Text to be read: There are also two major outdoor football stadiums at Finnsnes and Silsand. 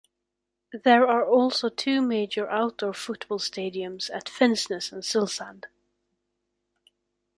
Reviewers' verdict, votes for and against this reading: accepted, 2, 0